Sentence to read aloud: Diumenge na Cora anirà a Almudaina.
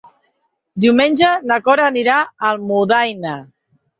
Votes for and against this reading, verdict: 4, 0, accepted